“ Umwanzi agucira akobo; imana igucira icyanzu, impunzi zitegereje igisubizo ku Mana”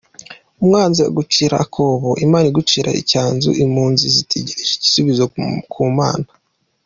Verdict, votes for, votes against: accepted, 2, 0